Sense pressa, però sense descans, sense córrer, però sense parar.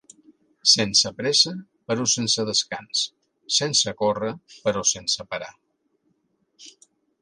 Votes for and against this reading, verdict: 4, 0, accepted